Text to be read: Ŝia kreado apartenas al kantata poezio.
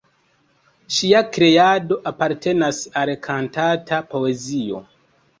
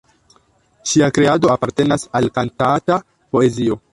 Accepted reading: first